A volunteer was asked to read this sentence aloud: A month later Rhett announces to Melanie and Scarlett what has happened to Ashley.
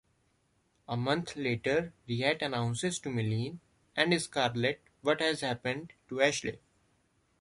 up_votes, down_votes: 1, 2